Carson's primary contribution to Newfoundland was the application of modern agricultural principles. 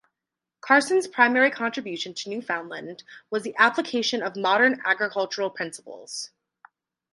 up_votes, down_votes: 2, 2